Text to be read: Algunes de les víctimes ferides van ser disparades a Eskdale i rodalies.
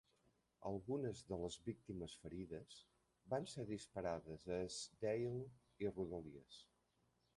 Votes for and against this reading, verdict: 1, 2, rejected